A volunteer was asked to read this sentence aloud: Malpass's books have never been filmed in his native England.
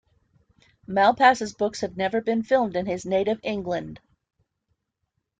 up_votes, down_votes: 2, 0